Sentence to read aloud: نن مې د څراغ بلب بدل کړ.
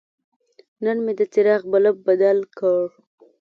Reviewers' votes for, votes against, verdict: 2, 0, accepted